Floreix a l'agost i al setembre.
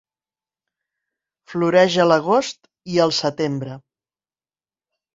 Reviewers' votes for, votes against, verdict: 2, 0, accepted